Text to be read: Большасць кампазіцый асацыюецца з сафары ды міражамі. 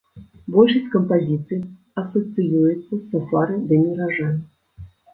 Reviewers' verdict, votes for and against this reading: rejected, 1, 2